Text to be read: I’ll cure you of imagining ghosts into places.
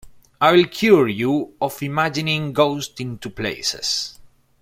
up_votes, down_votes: 1, 2